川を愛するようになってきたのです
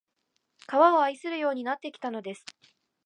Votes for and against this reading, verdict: 2, 0, accepted